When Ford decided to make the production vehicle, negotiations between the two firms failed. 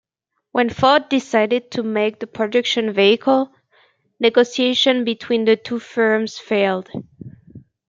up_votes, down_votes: 2, 0